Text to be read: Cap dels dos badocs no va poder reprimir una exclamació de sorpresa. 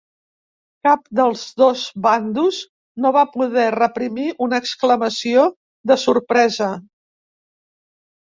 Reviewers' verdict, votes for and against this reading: rejected, 0, 4